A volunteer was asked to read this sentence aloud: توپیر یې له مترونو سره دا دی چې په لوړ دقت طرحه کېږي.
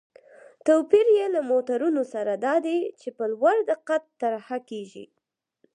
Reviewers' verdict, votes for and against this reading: accepted, 4, 0